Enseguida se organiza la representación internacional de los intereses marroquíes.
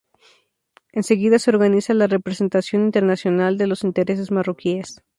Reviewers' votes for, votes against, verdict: 4, 0, accepted